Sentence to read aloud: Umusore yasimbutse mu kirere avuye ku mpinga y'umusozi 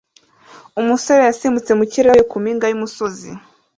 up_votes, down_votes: 0, 2